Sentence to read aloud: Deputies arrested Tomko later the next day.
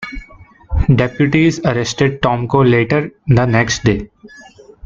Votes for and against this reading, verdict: 2, 1, accepted